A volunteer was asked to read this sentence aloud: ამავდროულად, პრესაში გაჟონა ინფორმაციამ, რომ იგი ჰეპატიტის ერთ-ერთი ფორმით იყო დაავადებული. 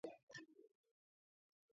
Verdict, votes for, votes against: rejected, 0, 2